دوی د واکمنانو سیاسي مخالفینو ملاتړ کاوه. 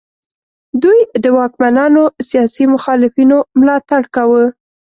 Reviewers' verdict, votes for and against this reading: accepted, 2, 0